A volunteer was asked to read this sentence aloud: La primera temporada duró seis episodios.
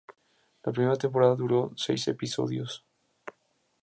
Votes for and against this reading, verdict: 4, 0, accepted